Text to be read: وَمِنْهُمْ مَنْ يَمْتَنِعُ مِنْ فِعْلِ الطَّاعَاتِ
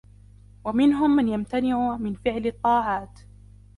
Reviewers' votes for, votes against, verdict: 3, 0, accepted